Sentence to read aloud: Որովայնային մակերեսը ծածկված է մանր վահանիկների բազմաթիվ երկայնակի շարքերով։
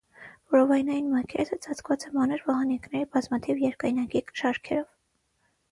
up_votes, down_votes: 0, 3